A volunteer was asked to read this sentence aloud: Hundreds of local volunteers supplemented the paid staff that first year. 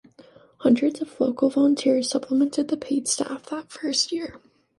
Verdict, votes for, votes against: accepted, 2, 1